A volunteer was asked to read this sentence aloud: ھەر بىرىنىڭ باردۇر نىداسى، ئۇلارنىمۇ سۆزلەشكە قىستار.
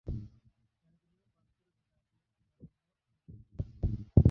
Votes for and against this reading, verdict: 0, 2, rejected